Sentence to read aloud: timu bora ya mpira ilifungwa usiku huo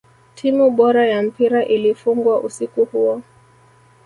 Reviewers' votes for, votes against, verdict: 0, 2, rejected